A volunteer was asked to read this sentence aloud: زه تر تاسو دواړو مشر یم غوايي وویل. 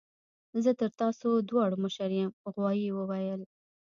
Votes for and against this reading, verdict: 0, 2, rejected